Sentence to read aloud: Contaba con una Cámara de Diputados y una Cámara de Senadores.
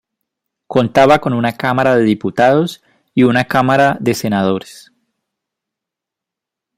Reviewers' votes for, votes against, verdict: 2, 0, accepted